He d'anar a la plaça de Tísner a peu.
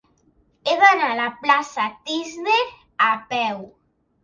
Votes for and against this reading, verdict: 0, 2, rejected